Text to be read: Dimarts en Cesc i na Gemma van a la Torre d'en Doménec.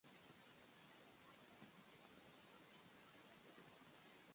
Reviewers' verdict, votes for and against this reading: rejected, 1, 2